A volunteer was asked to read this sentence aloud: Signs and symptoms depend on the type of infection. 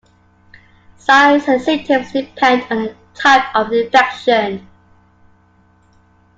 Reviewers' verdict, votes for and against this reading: rejected, 0, 2